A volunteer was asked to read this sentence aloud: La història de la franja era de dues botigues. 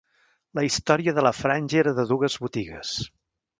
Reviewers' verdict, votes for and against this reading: rejected, 1, 2